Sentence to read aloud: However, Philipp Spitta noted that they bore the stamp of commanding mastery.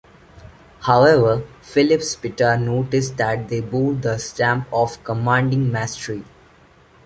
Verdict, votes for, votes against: rejected, 1, 2